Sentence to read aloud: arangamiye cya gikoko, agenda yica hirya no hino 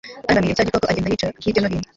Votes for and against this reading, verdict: 1, 2, rejected